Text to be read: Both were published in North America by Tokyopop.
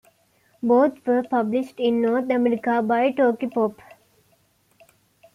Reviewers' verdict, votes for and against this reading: accepted, 2, 0